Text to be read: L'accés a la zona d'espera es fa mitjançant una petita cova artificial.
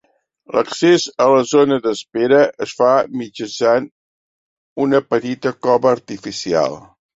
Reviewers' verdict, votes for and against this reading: accepted, 3, 0